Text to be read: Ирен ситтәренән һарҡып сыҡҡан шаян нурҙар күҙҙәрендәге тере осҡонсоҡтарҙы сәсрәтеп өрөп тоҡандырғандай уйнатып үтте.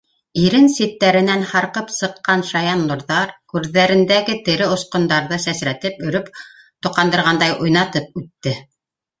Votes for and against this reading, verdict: 1, 2, rejected